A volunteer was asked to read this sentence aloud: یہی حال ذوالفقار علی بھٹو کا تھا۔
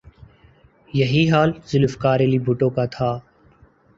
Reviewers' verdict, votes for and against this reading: accepted, 2, 0